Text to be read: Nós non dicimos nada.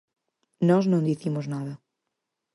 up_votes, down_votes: 4, 0